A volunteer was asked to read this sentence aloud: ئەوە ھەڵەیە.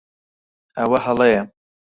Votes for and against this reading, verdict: 0, 4, rejected